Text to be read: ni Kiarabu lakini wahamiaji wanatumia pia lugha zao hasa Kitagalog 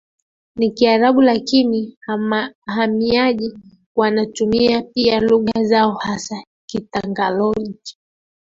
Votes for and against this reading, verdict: 0, 3, rejected